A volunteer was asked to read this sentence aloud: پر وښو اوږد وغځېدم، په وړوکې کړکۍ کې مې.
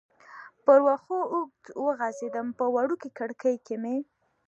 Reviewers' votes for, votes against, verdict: 2, 0, accepted